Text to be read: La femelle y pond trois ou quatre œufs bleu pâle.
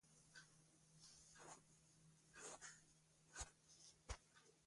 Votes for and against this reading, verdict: 0, 2, rejected